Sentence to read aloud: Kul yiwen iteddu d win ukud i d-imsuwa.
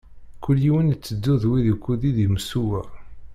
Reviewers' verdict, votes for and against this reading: rejected, 1, 2